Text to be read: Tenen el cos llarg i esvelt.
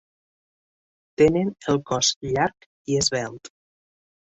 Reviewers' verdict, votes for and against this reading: accepted, 2, 0